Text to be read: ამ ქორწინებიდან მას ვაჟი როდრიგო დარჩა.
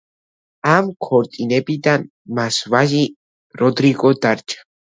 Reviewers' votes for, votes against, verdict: 2, 0, accepted